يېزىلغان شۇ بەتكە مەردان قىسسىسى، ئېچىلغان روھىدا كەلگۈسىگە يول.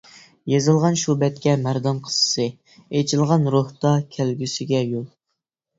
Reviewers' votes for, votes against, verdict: 0, 2, rejected